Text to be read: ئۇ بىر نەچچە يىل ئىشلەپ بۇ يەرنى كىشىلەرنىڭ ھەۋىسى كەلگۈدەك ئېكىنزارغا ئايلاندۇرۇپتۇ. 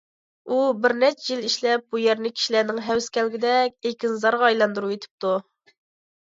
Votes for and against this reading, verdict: 1, 2, rejected